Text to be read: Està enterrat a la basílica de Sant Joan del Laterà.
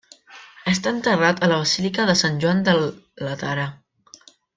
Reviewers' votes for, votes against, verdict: 2, 0, accepted